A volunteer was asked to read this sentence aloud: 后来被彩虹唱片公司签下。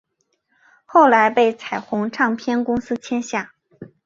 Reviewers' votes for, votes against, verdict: 3, 0, accepted